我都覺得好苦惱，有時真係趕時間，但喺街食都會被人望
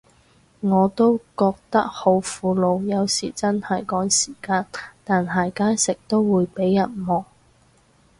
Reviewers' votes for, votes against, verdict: 2, 2, rejected